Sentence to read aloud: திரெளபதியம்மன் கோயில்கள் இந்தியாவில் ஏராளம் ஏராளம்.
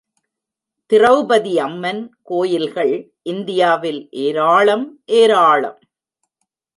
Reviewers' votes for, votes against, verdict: 2, 0, accepted